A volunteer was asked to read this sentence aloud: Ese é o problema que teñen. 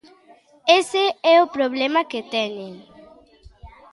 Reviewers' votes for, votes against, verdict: 1, 2, rejected